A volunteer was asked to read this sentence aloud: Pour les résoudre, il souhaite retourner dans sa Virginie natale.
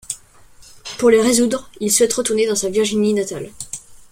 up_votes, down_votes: 2, 0